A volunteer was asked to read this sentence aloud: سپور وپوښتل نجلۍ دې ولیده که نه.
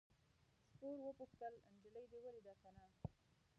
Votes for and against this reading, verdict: 1, 2, rejected